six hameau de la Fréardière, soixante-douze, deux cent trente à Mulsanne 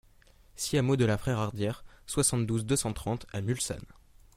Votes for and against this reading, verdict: 1, 2, rejected